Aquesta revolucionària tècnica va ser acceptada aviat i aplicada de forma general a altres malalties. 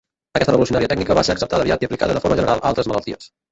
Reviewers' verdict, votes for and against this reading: rejected, 0, 2